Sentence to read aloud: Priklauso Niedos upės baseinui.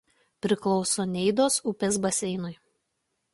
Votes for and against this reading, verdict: 0, 2, rejected